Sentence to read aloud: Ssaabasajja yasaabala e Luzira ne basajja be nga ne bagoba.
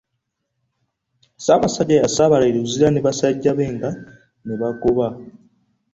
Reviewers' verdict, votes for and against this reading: accepted, 2, 1